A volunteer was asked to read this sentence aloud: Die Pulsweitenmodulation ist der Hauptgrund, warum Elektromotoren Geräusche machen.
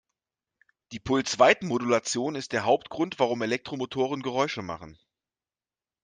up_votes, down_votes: 2, 0